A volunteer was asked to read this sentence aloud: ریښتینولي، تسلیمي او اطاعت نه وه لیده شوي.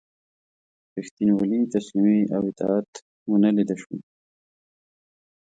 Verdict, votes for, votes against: rejected, 0, 2